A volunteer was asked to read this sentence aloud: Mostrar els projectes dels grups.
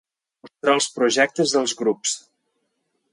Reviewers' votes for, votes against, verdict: 1, 2, rejected